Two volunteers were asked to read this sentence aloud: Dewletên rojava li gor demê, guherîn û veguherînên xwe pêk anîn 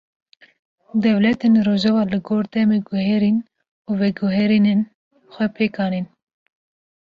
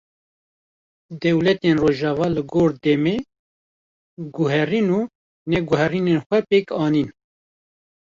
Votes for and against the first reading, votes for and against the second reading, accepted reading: 2, 0, 1, 2, first